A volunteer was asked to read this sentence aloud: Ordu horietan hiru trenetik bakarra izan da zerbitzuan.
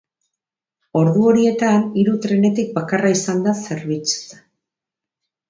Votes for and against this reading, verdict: 0, 4, rejected